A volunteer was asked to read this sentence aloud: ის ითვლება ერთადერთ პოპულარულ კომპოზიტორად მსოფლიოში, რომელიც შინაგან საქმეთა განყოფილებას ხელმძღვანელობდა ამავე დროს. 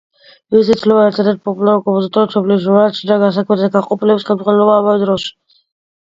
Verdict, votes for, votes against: rejected, 0, 2